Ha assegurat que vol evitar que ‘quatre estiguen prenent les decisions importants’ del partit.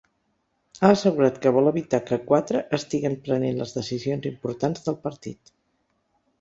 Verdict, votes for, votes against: accepted, 2, 0